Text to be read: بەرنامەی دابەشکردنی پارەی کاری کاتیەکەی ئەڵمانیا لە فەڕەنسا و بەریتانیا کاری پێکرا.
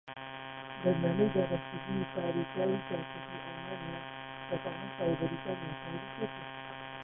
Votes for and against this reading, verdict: 0, 2, rejected